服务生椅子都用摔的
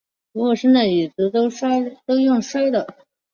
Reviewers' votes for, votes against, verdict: 2, 0, accepted